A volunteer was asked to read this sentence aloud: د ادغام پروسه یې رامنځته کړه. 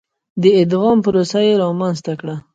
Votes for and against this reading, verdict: 2, 1, accepted